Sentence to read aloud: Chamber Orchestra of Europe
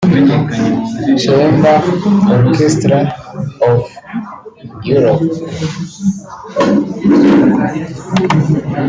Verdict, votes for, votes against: rejected, 0, 2